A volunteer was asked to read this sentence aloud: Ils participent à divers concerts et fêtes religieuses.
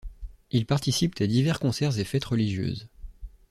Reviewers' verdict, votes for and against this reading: accepted, 2, 0